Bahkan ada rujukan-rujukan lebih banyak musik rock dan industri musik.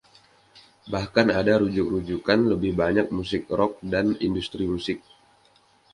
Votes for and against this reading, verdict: 1, 2, rejected